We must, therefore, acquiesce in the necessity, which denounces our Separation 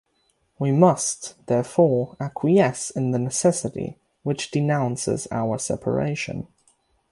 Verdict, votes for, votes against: rejected, 3, 3